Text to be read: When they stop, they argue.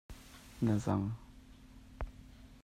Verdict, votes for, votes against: rejected, 1, 2